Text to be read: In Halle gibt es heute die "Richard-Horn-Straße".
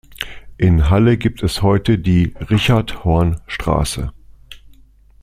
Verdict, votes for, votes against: accepted, 2, 0